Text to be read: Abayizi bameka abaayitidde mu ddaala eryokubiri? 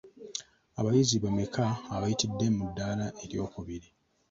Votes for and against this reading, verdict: 3, 2, accepted